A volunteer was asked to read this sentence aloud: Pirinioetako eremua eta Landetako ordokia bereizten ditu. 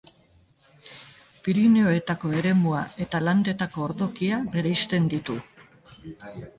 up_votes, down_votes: 1, 2